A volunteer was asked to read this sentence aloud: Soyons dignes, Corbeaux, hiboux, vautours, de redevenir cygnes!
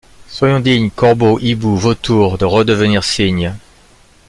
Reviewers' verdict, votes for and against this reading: accepted, 2, 0